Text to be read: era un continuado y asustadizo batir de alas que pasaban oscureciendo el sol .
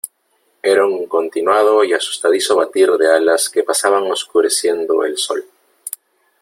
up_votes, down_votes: 3, 0